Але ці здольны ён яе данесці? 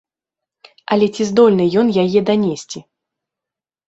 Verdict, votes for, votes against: accepted, 2, 0